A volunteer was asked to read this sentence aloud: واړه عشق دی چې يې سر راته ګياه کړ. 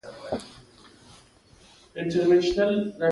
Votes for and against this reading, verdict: 2, 0, accepted